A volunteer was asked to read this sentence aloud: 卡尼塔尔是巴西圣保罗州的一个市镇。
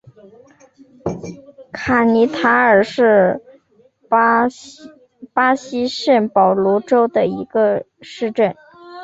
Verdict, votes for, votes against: rejected, 0, 2